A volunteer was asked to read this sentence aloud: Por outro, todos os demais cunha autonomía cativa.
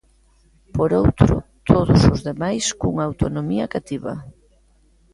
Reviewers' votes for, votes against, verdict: 1, 2, rejected